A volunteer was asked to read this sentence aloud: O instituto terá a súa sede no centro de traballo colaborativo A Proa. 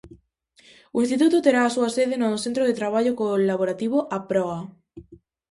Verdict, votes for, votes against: rejected, 0, 2